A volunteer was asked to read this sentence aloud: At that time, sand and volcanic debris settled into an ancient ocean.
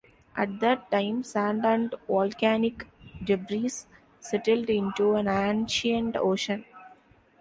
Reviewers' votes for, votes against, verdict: 1, 2, rejected